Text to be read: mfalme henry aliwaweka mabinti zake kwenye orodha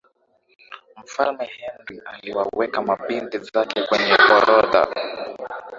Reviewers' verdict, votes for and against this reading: accepted, 2, 0